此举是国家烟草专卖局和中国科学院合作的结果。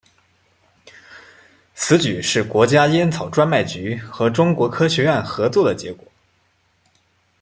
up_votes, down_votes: 2, 0